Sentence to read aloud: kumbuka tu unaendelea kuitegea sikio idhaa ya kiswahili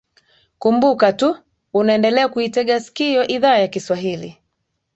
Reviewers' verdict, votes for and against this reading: accepted, 13, 0